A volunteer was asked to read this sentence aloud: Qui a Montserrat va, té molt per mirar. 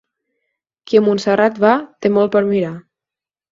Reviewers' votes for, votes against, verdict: 4, 0, accepted